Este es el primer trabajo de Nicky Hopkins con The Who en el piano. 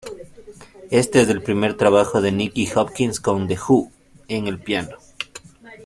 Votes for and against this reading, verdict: 0, 2, rejected